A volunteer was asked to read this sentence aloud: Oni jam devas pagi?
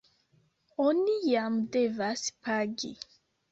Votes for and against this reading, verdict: 2, 0, accepted